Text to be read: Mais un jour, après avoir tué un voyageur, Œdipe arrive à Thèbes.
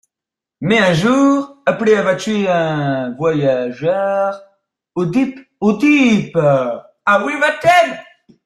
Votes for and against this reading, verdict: 0, 2, rejected